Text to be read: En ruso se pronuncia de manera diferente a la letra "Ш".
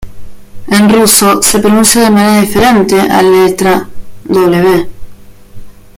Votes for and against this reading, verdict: 2, 1, accepted